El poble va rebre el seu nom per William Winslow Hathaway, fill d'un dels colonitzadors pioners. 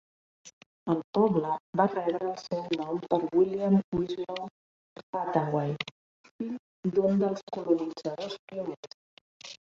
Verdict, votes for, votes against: rejected, 2, 3